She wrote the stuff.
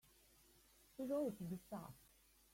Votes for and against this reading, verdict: 0, 3, rejected